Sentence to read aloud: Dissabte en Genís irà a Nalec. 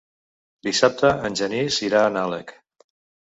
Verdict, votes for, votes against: rejected, 1, 2